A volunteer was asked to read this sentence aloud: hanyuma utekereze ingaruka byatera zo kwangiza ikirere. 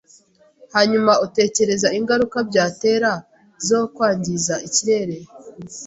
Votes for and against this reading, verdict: 0, 2, rejected